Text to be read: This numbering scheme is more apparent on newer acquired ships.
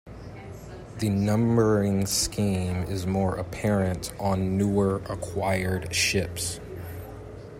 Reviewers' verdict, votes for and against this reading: rejected, 0, 2